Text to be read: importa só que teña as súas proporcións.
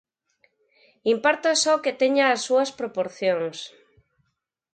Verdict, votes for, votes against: accepted, 4, 0